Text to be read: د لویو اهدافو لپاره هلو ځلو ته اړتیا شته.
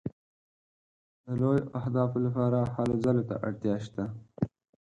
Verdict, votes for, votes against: accepted, 4, 0